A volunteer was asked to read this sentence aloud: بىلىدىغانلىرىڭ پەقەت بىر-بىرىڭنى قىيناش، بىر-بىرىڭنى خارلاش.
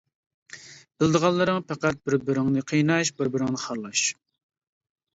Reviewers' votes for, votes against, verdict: 2, 0, accepted